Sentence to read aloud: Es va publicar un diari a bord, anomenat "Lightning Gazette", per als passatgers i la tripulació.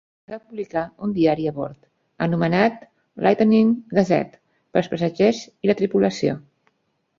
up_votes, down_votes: 1, 2